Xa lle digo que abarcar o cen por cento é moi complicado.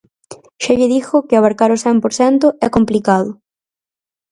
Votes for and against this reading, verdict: 0, 4, rejected